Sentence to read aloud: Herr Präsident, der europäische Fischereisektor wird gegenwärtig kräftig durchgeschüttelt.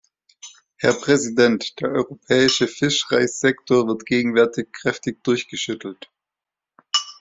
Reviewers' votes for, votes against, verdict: 1, 2, rejected